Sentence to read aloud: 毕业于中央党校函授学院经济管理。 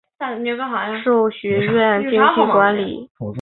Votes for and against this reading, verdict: 2, 1, accepted